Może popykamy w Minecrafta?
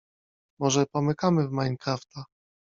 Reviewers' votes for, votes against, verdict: 1, 2, rejected